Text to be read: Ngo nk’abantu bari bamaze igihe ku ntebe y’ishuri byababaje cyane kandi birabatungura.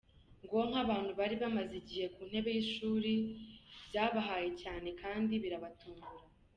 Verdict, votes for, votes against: rejected, 1, 2